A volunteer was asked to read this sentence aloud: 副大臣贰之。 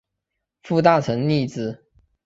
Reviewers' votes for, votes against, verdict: 3, 1, accepted